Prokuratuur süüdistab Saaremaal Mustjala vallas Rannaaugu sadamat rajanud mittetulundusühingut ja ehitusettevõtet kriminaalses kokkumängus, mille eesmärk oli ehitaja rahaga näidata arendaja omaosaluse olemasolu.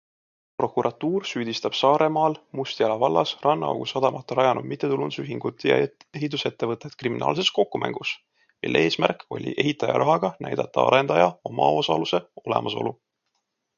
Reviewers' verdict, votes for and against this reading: accepted, 2, 1